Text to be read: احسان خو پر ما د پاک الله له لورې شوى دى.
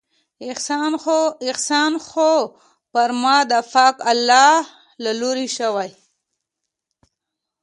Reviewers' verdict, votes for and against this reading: rejected, 1, 2